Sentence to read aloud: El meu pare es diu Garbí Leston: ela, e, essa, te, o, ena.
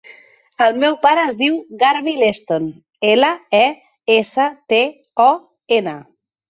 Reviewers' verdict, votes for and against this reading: accepted, 2, 0